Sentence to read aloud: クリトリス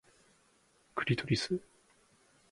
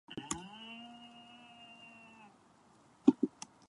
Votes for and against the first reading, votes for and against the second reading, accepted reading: 2, 0, 0, 2, first